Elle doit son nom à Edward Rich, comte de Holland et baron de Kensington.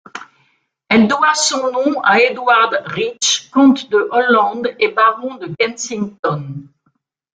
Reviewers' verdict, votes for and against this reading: rejected, 1, 2